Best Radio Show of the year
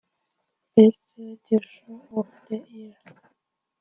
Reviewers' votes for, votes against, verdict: 0, 2, rejected